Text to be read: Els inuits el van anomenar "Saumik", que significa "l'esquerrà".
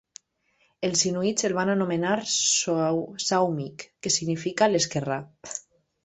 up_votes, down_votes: 1, 2